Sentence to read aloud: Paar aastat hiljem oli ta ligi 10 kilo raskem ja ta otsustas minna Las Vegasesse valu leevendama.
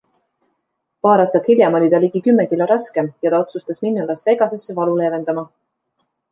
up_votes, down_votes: 0, 2